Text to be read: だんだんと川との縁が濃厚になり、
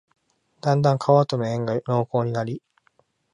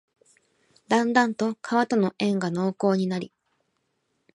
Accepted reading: second